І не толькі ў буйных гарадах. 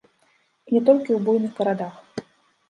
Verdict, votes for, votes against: rejected, 0, 2